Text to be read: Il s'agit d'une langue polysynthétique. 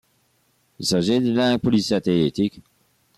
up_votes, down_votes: 2, 0